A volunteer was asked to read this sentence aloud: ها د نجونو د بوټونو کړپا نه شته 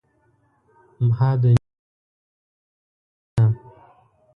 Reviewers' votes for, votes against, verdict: 0, 2, rejected